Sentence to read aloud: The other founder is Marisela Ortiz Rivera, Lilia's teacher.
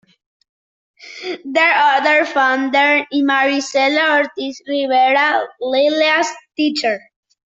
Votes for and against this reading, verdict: 1, 2, rejected